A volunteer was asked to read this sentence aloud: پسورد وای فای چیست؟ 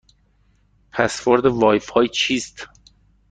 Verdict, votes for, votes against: accepted, 2, 0